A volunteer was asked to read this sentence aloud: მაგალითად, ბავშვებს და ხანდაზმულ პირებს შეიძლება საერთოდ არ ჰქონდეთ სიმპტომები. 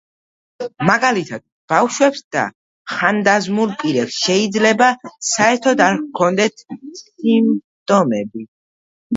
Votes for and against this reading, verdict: 2, 1, accepted